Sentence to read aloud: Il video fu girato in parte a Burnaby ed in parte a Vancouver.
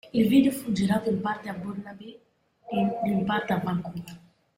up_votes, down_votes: 1, 2